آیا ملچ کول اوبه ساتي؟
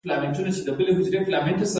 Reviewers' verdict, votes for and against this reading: rejected, 1, 2